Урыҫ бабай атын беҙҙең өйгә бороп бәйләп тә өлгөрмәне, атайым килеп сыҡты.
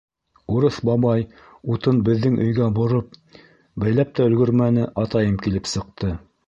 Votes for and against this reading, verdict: 1, 2, rejected